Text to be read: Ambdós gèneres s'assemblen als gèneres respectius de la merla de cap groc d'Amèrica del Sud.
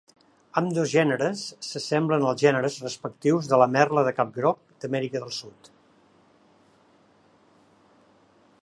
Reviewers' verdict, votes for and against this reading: accepted, 2, 0